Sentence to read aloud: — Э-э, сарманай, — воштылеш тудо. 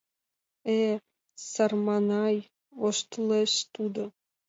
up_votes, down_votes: 2, 0